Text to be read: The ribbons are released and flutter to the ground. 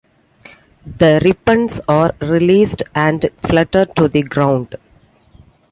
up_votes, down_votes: 2, 1